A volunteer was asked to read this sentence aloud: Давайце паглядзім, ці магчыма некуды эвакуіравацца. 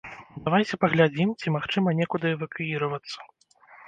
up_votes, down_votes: 0, 2